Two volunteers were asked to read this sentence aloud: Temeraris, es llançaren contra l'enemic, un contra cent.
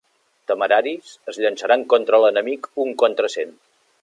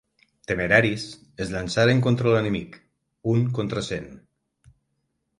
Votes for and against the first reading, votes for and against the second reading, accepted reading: 1, 2, 9, 0, second